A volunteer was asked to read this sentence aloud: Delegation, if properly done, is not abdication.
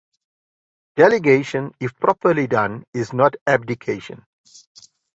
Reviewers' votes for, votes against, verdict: 2, 0, accepted